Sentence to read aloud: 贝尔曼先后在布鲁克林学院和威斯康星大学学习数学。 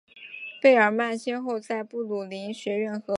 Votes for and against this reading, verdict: 0, 3, rejected